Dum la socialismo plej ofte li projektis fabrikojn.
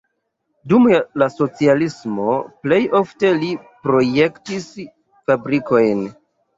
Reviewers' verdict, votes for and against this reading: accepted, 2, 1